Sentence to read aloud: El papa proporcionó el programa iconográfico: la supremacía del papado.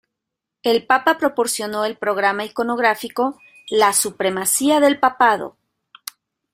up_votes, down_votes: 3, 0